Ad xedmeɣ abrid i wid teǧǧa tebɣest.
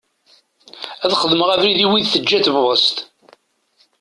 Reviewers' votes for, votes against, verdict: 2, 0, accepted